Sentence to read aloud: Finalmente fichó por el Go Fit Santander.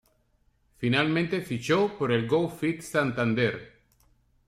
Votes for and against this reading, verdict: 2, 0, accepted